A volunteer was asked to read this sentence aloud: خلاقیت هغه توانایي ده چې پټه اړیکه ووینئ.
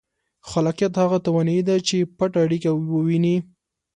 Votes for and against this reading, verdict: 2, 0, accepted